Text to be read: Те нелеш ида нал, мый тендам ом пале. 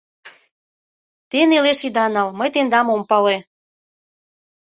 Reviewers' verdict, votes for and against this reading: accepted, 2, 0